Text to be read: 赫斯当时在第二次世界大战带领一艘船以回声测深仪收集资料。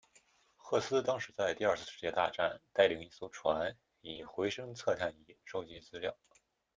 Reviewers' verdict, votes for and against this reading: rejected, 0, 2